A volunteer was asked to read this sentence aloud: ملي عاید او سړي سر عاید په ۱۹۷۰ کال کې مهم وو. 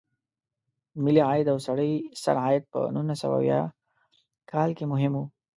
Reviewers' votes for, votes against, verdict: 0, 2, rejected